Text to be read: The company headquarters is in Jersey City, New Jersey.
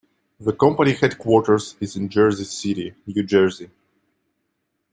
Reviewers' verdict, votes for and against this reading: accepted, 2, 0